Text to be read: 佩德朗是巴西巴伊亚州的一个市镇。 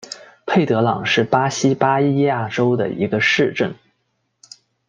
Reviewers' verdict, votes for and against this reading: accepted, 2, 1